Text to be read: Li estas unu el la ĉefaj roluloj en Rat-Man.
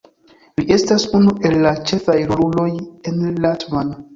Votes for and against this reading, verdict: 0, 2, rejected